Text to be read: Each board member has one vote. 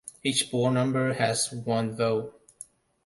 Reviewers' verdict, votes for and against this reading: rejected, 1, 2